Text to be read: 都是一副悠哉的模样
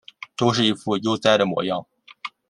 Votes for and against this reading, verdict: 2, 0, accepted